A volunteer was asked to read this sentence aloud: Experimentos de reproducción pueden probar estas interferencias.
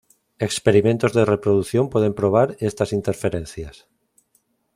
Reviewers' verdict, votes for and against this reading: accepted, 2, 0